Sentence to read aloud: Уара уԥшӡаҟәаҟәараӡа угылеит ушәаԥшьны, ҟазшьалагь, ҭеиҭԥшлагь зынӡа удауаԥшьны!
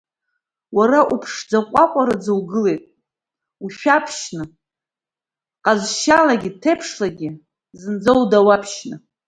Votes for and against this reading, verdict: 1, 2, rejected